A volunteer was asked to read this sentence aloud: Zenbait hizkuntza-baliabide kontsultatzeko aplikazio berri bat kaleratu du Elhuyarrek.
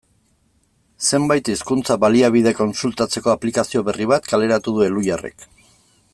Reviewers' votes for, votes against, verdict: 2, 1, accepted